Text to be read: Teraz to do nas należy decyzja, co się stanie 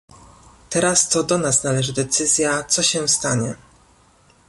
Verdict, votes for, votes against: accepted, 2, 0